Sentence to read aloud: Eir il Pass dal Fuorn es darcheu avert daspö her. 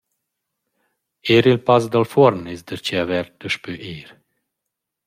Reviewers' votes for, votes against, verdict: 1, 2, rejected